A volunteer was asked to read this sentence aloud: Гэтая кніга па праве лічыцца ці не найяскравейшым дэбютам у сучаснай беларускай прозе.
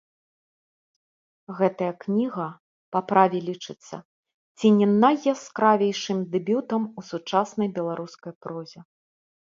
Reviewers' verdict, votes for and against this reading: accepted, 2, 0